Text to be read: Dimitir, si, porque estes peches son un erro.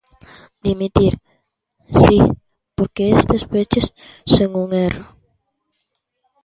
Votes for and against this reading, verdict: 0, 2, rejected